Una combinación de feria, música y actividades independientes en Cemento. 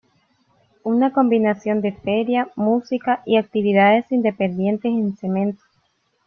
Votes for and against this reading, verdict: 2, 0, accepted